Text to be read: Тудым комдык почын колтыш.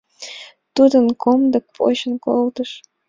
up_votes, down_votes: 2, 0